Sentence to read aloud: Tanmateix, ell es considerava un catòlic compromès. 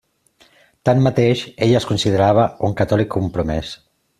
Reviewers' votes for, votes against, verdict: 2, 0, accepted